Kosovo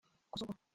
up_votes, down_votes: 0, 2